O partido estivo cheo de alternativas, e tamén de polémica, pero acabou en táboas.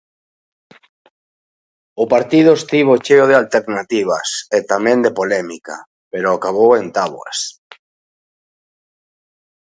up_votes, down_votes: 2, 0